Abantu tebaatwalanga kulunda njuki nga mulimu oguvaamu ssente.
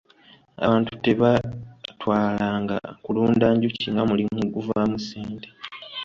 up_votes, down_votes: 2, 1